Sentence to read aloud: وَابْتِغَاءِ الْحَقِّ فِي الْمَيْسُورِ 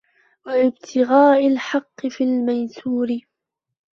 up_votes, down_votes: 1, 2